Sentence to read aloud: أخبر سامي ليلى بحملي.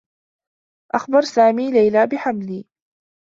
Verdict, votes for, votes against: accepted, 2, 0